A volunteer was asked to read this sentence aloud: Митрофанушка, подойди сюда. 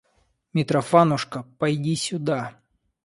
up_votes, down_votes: 0, 2